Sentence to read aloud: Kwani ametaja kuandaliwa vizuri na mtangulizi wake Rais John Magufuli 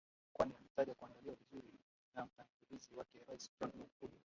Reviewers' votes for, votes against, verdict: 0, 2, rejected